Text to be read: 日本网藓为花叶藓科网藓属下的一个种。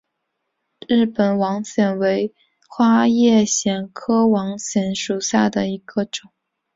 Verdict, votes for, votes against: accepted, 2, 1